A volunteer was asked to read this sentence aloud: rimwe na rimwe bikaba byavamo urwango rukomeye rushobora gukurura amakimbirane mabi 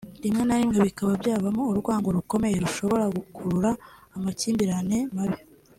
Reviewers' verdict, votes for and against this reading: accepted, 3, 0